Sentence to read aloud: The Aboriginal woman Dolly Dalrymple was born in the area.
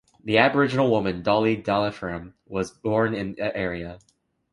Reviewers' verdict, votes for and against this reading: rejected, 0, 2